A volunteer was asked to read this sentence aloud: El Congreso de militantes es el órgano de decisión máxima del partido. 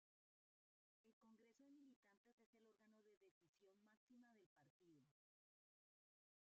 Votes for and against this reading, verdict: 0, 2, rejected